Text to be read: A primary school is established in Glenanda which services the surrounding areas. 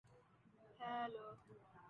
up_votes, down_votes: 0, 2